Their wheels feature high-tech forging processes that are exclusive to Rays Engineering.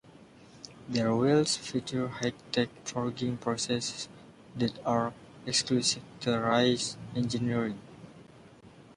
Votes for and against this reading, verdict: 1, 2, rejected